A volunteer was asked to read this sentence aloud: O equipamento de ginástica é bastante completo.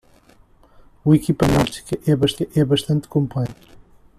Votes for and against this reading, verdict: 0, 2, rejected